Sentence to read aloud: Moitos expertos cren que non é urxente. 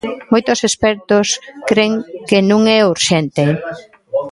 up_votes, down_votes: 0, 2